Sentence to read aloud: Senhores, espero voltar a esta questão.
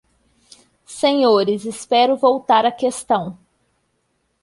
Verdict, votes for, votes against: rejected, 0, 2